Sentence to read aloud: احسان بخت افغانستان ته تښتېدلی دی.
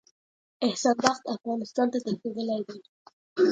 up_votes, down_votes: 2, 0